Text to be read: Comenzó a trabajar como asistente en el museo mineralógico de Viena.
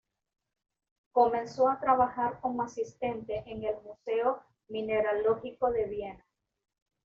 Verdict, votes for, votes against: accepted, 2, 0